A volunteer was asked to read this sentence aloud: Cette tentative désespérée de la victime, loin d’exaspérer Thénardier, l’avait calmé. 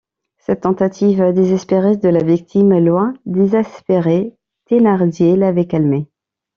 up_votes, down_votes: 1, 2